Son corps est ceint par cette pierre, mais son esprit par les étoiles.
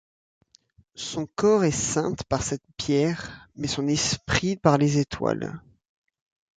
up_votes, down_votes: 0, 2